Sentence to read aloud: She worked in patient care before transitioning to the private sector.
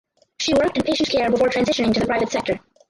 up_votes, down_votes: 0, 4